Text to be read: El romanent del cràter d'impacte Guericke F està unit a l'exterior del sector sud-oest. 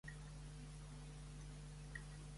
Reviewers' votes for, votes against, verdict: 0, 2, rejected